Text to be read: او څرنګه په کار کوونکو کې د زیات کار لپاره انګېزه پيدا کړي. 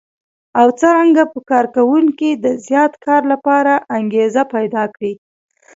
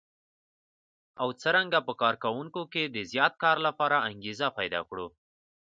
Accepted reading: second